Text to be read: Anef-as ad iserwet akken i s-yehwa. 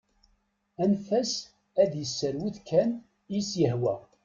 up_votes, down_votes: 1, 2